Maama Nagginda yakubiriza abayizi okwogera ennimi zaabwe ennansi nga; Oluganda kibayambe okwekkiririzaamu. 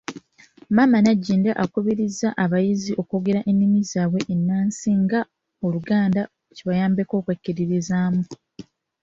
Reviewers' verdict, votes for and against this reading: accepted, 2, 0